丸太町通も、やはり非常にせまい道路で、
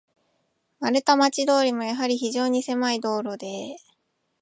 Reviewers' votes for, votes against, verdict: 29, 6, accepted